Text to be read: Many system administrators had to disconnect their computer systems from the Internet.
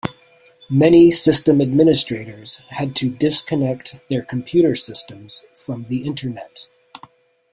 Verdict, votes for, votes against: accepted, 2, 0